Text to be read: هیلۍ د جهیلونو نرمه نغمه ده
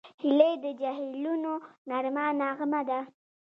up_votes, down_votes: 1, 2